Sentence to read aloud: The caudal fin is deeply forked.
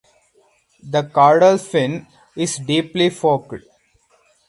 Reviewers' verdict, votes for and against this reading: rejected, 4, 6